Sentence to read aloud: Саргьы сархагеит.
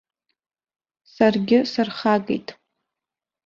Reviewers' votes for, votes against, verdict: 2, 1, accepted